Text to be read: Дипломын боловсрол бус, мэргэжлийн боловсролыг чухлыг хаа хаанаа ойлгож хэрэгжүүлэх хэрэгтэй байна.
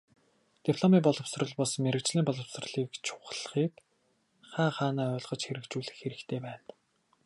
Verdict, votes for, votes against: rejected, 0, 2